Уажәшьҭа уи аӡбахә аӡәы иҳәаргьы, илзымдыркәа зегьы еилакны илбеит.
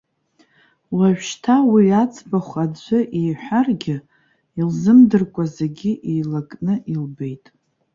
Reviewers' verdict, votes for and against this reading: accepted, 2, 0